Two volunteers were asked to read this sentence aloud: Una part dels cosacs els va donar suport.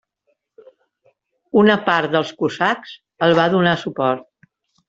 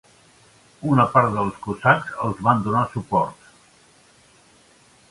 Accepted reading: second